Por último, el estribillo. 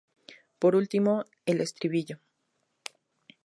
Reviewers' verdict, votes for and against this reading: accepted, 2, 0